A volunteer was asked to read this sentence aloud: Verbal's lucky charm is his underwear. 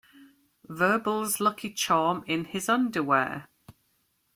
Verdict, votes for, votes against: rejected, 0, 2